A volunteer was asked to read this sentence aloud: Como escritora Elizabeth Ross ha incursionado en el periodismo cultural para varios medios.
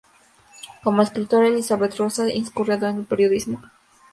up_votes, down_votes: 0, 2